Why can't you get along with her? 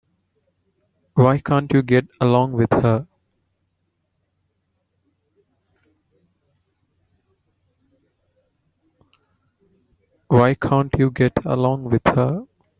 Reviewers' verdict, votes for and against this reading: rejected, 1, 2